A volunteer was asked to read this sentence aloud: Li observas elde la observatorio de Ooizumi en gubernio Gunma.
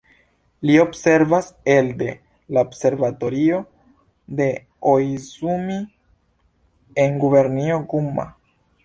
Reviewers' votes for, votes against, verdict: 1, 2, rejected